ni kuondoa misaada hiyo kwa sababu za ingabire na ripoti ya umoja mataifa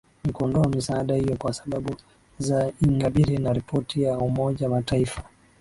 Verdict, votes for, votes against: accepted, 2, 0